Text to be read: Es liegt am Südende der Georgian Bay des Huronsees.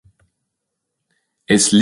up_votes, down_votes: 0, 2